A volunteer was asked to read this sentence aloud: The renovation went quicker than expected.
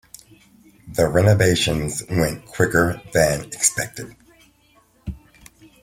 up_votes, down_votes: 2, 0